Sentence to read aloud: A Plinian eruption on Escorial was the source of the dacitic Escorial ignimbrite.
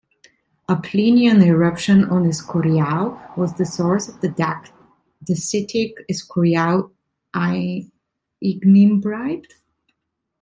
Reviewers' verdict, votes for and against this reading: rejected, 0, 2